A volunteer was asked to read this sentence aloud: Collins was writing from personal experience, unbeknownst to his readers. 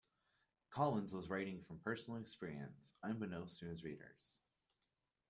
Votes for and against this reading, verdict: 2, 0, accepted